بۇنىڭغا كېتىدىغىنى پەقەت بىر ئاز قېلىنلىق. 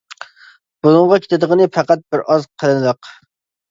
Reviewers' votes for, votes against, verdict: 2, 1, accepted